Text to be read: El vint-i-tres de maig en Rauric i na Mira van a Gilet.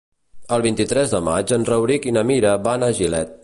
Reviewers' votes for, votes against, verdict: 2, 0, accepted